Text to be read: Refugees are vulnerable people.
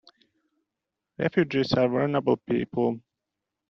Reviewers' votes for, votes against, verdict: 2, 0, accepted